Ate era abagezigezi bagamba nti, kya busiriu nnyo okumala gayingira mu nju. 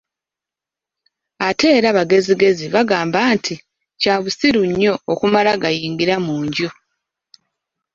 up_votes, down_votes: 0, 2